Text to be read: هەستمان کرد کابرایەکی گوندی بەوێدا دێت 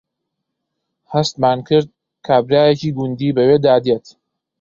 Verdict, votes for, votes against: accepted, 2, 0